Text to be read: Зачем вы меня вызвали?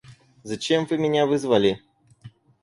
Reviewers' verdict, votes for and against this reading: accepted, 4, 0